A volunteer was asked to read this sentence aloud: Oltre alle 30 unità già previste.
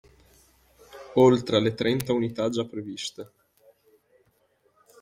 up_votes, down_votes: 0, 2